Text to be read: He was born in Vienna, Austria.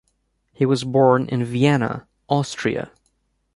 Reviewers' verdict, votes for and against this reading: accepted, 2, 0